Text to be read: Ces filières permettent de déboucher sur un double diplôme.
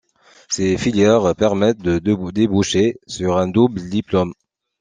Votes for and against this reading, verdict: 1, 2, rejected